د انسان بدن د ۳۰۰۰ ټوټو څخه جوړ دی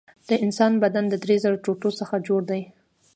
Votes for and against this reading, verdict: 0, 2, rejected